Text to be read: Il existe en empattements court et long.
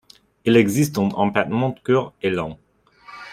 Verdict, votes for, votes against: rejected, 0, 2